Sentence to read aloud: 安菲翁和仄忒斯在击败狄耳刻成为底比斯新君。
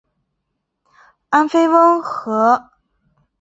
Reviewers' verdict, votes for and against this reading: rejected, 0, 2